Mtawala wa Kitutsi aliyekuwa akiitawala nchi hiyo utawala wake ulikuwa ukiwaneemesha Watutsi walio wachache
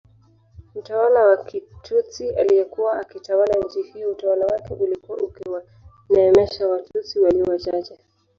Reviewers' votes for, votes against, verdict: 1, 2, rejected